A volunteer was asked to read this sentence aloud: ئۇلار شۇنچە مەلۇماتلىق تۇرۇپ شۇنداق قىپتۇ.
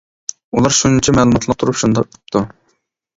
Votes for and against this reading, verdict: 1, 2, rejected